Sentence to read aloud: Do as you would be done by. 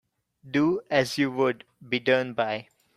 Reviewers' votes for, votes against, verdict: 2, 0, accepted